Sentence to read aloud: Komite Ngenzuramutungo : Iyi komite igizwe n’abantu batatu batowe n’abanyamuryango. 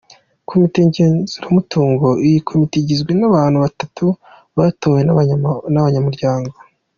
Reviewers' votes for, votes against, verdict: 2, 1, accepted